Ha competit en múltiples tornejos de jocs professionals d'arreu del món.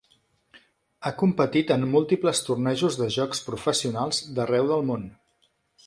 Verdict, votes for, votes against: accepted, 3, 0